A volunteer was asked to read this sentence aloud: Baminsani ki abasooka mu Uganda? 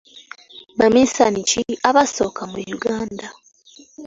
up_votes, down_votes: 2, 0